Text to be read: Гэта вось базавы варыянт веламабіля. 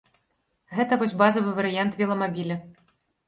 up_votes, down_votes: 2, 0